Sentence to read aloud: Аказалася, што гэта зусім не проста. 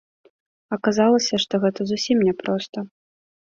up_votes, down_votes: 2, 0